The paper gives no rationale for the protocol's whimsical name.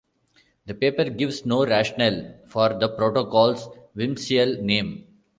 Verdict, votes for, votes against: rejected, 1, 2